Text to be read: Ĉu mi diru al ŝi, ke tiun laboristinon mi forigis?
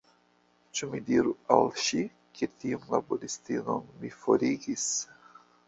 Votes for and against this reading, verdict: 2, 0, accepted